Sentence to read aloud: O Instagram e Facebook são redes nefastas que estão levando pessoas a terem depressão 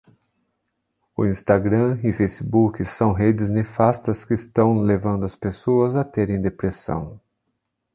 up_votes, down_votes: 1, 2